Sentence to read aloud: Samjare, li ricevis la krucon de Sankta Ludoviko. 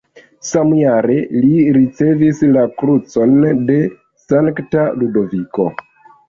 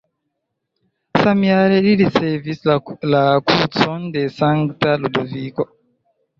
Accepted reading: first